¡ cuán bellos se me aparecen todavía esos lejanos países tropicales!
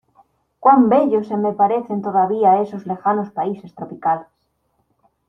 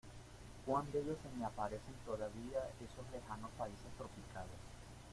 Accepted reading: first